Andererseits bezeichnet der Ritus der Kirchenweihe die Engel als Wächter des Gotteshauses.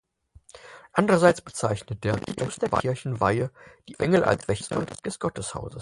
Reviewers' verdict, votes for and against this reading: rejected, 0, 4